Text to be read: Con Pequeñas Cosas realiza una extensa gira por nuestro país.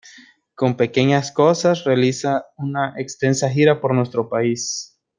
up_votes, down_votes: 2, 0